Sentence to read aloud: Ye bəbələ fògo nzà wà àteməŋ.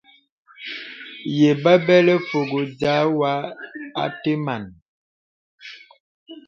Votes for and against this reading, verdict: 0, 2, rejected